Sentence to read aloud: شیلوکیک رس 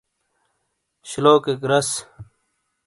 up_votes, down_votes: 2, 0